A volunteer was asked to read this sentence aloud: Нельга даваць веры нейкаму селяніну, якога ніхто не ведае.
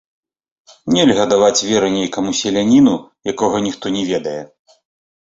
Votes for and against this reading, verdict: 2, 0, accepted